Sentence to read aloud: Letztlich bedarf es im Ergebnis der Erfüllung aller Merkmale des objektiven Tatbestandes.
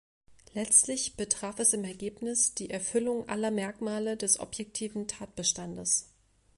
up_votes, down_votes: 1, 2